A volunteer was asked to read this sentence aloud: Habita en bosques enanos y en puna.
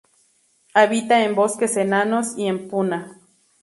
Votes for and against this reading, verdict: 2, 0, accepted